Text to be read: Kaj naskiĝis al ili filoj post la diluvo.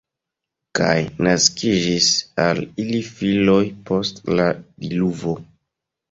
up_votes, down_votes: 2, 0